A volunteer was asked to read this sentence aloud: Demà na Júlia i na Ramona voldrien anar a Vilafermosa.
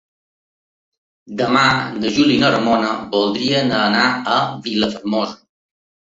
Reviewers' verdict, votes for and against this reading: rejected, 1, 2